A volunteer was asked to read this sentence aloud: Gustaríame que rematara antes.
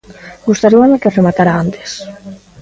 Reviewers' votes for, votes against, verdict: 2, 0, accepted